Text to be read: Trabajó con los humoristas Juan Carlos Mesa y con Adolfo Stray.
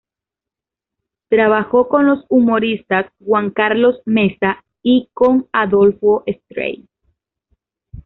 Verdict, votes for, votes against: accepted, 2, 0